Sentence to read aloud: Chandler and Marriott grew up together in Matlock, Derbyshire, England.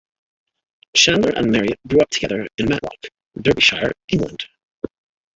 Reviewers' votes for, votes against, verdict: 2, 0, accepted